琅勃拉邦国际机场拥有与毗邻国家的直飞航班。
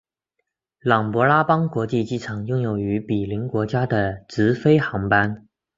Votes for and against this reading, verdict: 2, 0, accepted